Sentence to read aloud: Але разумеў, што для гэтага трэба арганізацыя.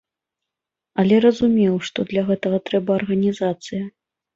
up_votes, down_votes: 2, 0